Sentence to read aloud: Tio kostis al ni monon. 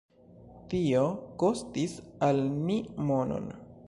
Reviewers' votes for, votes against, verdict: 2, 0, accepted